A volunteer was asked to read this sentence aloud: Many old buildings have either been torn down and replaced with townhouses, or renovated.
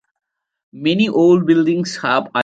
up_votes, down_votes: 0, 2